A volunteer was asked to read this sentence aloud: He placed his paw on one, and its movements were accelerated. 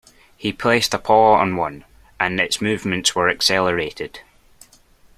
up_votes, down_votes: 0, 2